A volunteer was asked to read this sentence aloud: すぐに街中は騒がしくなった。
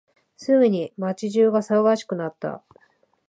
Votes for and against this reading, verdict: 2, 1, accepted